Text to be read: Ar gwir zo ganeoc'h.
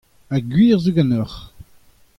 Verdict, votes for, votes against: accepted, 2, 0